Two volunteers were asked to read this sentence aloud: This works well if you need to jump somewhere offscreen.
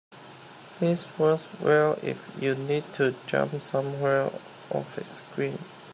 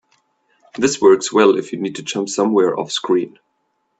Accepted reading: second